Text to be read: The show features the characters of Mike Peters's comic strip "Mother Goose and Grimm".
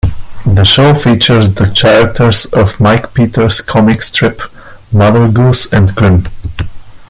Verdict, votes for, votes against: rejected, 1, 2